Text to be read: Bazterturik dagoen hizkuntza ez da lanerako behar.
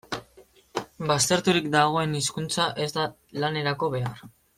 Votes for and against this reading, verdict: 2, 0, accepted